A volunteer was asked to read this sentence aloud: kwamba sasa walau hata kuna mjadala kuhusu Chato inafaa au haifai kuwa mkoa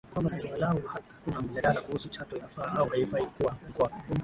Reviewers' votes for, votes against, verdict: 3, 6, rejected